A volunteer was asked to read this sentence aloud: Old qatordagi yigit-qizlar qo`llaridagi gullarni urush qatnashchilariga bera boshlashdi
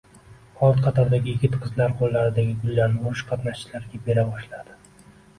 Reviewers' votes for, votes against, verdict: 1, 2, rejected